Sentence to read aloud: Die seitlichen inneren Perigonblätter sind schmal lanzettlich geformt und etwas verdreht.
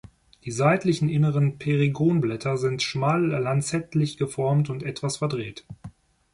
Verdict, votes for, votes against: rejected, 1, 2